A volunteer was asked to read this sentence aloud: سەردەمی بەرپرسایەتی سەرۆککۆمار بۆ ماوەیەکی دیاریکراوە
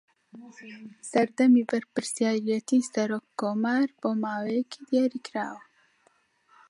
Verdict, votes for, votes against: rejected, 1, 2